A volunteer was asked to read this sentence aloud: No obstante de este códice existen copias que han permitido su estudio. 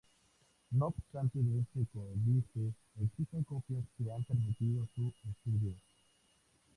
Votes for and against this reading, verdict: 0, 2, rejected